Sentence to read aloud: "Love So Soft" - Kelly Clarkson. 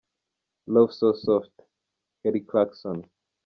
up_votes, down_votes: 2, 1